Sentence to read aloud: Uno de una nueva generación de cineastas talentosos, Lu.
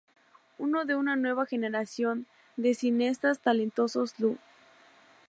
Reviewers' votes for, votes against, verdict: 4, 0, accepted